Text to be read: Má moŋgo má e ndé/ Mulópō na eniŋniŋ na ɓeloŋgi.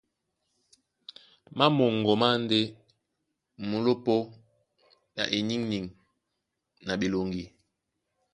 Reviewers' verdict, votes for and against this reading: rejected, 1, 2